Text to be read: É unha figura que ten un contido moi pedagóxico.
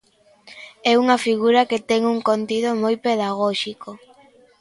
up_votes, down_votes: 2, 0